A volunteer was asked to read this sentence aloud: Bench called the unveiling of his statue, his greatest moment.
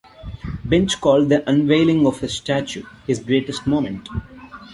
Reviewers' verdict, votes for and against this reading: accepted, 2, 0